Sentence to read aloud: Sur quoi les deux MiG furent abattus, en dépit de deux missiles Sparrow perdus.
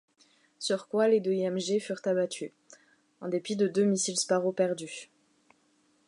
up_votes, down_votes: 1, 2